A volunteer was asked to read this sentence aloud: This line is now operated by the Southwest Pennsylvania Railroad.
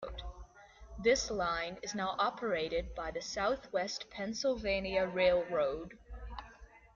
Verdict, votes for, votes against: accepted, 2, 0